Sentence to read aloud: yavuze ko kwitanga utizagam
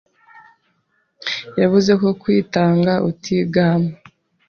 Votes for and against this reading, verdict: 1, 2, rejected